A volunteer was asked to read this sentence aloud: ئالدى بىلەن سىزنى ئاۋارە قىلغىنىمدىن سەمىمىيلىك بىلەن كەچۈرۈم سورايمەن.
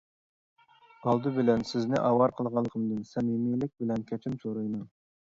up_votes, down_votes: 0, 2